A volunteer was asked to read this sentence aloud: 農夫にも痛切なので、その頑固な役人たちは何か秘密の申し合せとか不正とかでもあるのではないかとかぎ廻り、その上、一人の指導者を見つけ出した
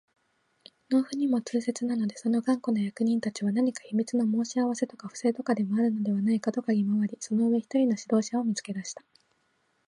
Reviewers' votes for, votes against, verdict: 0, 2, rejected